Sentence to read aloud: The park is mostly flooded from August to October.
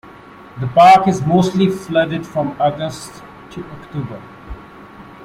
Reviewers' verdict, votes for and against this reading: accepted, 2, 1